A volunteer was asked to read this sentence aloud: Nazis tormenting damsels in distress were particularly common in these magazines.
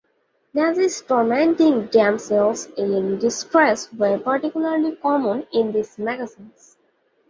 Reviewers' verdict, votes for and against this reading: accepted, 2, 0